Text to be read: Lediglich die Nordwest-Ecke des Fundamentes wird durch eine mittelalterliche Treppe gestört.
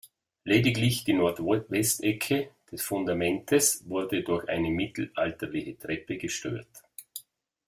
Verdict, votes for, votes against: rejected, 0, 2